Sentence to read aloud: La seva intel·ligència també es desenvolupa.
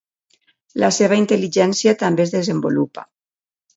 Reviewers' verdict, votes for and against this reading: accepted, 2, 0